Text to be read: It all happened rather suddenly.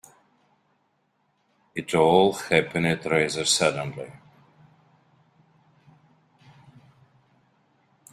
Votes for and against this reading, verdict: 3, 4, rejected